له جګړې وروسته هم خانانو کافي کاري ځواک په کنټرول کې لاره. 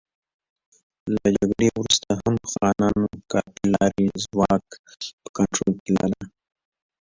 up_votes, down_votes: 1, 2